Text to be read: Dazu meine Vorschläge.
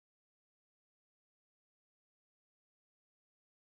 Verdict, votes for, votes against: rejected, 0, 2